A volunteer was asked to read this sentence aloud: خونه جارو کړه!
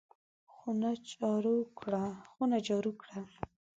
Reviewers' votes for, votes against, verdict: 1, 2, rejected